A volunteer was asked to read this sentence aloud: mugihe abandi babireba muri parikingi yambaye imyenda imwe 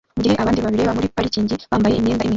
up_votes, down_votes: 1, 2